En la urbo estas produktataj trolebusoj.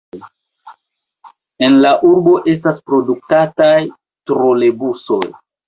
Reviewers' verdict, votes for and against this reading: accepted, 2, 1